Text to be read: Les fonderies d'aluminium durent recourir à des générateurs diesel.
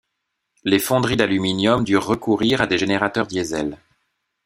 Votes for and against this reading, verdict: 2, 0, accepted